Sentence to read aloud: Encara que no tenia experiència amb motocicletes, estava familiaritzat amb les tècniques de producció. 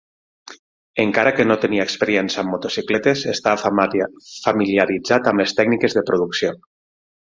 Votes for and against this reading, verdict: 0, 6, rejected